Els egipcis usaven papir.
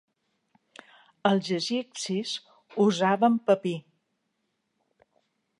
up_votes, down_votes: 2, 1